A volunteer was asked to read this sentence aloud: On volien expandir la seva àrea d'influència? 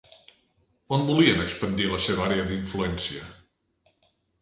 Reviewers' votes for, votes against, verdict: 2, 0, accepted